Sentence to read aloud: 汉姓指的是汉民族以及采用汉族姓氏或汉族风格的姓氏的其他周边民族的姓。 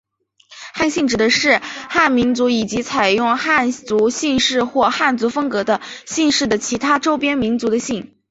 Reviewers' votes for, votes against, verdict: 2, 1, accepted